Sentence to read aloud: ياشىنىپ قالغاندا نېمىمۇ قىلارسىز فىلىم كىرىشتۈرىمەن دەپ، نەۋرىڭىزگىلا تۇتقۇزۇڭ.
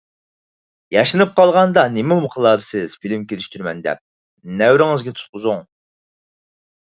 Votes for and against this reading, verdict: 0, 4, rejected